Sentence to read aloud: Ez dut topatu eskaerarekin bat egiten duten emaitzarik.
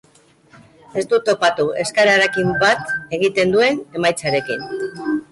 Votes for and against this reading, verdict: 0, 2, rejected